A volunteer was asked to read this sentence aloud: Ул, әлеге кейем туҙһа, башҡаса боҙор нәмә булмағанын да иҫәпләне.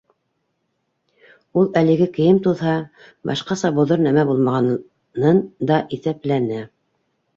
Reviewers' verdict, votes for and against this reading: rejected, 1, 2